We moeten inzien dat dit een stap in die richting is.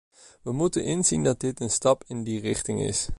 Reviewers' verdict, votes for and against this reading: accepted, 2, 0